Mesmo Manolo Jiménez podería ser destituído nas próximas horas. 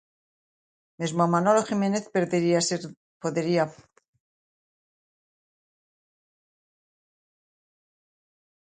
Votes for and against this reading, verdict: 0, 2, rejected